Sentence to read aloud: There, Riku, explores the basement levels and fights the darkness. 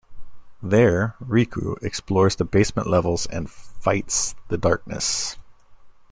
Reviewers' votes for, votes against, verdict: 2, 0, accepted